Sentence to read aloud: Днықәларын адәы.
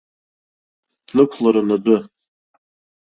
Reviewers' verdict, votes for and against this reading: rejected, 2, 3